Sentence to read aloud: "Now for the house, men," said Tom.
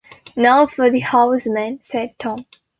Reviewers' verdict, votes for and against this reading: accepted, 2, 0